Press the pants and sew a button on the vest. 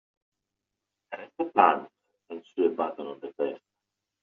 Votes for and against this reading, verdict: 2, 0, accepted